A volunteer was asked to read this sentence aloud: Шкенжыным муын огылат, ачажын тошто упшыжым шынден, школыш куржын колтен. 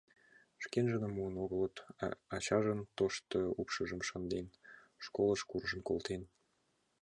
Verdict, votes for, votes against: rejected, 1, 2